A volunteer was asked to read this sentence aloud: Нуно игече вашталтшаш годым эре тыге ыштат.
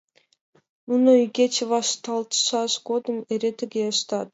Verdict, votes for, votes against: accepted, 2, 0